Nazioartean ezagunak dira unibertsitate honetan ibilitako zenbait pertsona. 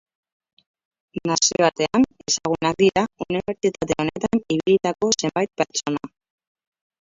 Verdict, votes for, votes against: rejected, 0, 4